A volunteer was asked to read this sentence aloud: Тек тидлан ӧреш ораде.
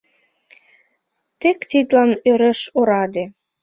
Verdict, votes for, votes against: accepted, 2, 0